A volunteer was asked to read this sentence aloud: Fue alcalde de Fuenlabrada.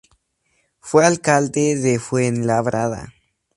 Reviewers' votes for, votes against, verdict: 2, 0, accepted